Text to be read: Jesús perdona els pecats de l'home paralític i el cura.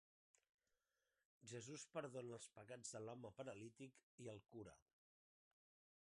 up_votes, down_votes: 0, 2